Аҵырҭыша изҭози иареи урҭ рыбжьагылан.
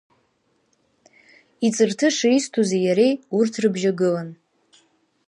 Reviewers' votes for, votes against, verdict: 2, 0, accepted